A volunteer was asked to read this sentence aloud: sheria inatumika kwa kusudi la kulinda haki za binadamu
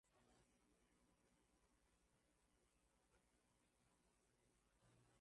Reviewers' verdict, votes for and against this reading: rejected, 2, 4